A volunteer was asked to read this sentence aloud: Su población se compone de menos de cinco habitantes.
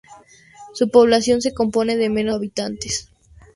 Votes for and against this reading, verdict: 0, 2, rejected